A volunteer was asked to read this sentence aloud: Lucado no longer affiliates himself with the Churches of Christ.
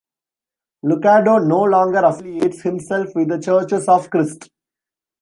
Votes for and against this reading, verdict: 1, 2, rejected